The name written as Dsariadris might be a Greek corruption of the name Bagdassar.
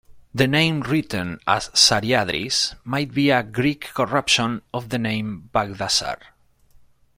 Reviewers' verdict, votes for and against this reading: accepted, 2, 1